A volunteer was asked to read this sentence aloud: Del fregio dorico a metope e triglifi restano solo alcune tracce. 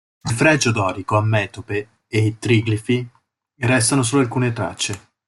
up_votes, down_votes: 2, 0